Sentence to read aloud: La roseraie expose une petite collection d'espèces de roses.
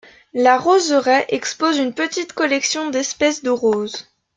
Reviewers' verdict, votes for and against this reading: accepted, 2, 0